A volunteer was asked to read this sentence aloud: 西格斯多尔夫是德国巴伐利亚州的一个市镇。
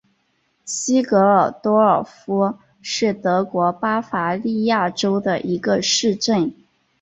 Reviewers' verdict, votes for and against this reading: accepted, 5, 3